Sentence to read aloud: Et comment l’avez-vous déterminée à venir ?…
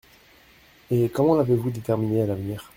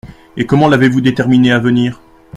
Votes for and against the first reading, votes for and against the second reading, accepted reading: 1, 2, 2, 0, second